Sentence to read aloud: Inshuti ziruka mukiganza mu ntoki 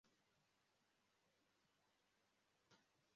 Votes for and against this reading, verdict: 0, 2, rejected